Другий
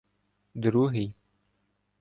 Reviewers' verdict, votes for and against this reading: accepted, 2, 0